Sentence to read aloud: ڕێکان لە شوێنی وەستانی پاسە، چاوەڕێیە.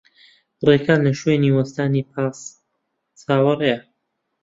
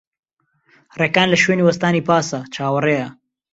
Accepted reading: second